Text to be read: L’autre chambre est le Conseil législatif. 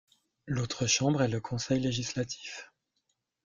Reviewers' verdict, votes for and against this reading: accepted, 3, 0